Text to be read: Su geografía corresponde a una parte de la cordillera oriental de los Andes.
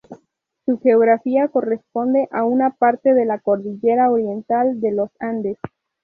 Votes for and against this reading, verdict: 2, 0, accepted